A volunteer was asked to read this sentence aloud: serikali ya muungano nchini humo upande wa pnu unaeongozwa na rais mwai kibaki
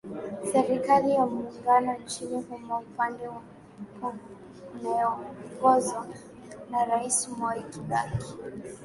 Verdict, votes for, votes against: accepted, 11, 2